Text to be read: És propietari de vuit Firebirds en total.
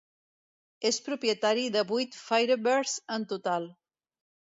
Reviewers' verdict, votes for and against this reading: accepted, 2, 0